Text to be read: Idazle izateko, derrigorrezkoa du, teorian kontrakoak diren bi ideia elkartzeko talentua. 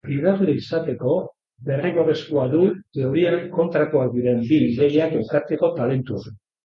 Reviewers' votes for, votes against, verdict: 0, 2, rejected